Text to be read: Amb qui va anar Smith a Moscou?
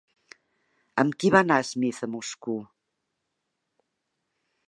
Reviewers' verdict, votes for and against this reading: rejected, 0, 2